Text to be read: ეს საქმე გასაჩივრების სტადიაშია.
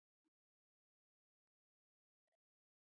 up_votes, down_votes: 2, 0